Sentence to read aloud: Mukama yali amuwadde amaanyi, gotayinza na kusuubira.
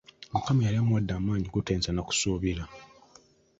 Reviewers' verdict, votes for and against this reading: accepted, 2, 1